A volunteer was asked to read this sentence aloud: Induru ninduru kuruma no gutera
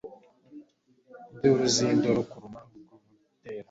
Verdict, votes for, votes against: rejected, 1, 2